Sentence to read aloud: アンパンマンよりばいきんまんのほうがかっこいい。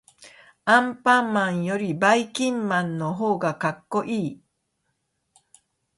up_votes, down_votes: 2, 0